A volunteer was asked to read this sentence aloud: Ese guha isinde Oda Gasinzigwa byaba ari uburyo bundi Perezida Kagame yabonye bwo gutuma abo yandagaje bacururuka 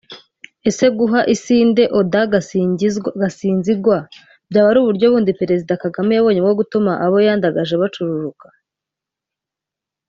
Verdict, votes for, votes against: rejected, 1, 2